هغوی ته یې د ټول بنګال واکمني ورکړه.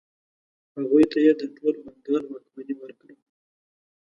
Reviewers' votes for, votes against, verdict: 1, 2, rejected